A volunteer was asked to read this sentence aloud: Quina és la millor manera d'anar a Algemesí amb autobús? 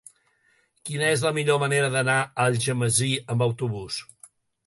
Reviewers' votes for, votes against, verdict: 2, 0, accepted